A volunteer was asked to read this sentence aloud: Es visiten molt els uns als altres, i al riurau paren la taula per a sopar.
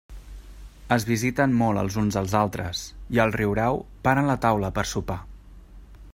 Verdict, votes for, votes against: accepted, 2, 0